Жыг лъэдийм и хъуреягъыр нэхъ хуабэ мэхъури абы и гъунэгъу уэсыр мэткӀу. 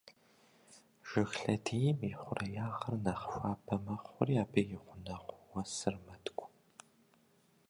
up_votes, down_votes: 1, 2